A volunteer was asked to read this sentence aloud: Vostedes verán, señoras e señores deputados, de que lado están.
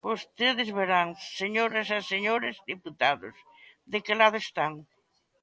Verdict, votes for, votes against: accepted, 2, 1